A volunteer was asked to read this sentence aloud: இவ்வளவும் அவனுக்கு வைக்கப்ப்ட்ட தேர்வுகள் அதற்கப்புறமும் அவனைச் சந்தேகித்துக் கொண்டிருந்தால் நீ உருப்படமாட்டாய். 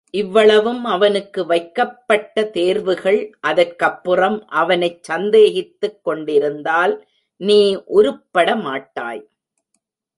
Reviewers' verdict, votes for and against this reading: rejected, 1, 2